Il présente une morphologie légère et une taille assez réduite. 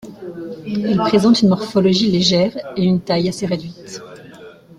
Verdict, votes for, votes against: accepted, 2, 0